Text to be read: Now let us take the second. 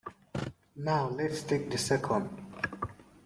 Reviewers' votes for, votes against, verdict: 2, 1, accepted